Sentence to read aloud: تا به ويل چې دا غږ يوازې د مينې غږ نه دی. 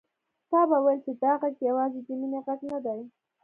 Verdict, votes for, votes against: accepted, 2, 0